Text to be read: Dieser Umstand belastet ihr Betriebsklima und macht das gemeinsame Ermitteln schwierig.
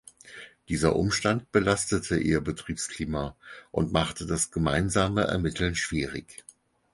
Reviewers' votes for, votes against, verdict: 2, 4, rejected